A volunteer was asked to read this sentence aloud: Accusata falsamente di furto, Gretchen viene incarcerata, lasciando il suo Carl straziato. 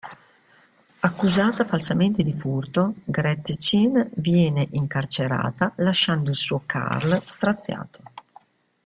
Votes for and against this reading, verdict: 1, 2, rejected